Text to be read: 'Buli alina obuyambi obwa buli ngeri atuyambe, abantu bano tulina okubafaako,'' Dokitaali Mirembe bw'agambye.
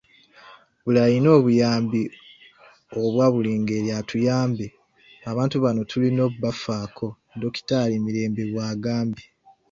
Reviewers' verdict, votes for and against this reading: accepted, 2, 0